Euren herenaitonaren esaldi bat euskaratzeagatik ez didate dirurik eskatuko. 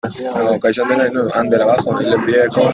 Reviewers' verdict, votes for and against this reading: rejected, 0, 2